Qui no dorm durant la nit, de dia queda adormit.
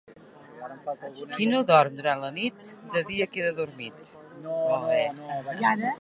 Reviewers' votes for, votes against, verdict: 2, 0, accepted